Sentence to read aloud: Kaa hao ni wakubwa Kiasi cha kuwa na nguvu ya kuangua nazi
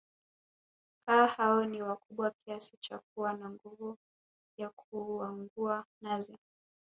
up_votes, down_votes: 1, 2